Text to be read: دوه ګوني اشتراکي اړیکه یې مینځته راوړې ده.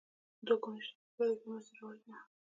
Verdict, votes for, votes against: accepted, 2, 1